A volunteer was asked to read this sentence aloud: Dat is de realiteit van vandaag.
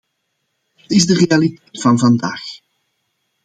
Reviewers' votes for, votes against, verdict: 0, 2, rejected